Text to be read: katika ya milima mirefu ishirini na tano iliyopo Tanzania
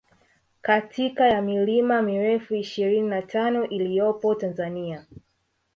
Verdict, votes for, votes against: rejected, 0, 2